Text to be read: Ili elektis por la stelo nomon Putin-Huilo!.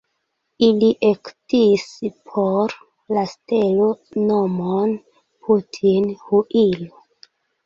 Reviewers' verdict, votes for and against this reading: rejected, 0, 2